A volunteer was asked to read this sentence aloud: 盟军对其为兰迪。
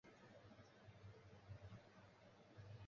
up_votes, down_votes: 1, 5